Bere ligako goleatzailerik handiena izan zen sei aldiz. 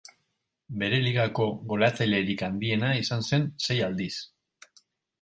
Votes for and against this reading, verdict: 6, 0, accepted